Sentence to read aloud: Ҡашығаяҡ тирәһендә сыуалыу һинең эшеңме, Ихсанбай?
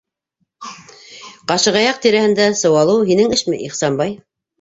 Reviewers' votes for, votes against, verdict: 0, 2, rejected